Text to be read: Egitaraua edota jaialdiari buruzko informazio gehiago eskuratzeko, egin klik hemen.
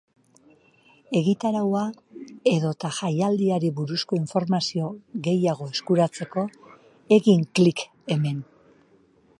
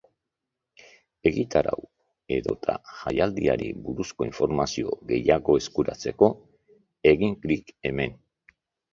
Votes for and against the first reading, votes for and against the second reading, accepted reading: 3, 1, 1, 2, first